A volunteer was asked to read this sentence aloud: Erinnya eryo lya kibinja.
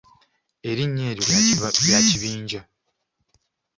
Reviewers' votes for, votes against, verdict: 2, 0, accepted